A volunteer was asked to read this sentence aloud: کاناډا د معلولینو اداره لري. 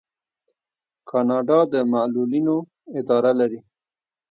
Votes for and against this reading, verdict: 1, 2, rejected